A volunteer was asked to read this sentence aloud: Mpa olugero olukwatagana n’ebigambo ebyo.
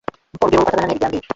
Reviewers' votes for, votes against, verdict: 0, 2, rejected